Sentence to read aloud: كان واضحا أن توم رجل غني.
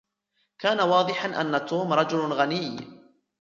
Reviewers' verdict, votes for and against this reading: rejected, 1, 2